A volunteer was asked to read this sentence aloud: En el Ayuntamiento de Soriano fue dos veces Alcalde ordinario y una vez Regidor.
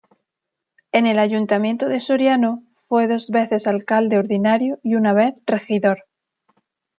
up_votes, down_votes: 2, 0